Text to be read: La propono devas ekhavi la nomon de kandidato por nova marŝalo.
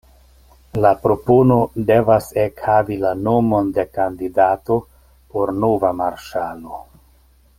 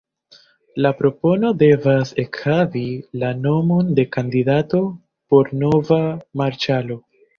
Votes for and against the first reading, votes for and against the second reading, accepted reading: 2, 0, 0, 2, first